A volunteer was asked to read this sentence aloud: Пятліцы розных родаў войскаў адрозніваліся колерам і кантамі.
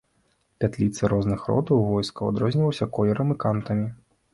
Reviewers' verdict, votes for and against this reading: rejected, 1, 2